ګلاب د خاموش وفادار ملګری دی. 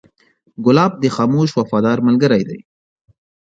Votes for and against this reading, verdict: 2, 0, accepted